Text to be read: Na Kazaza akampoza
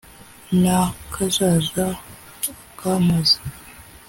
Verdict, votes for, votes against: accepted, 2, 0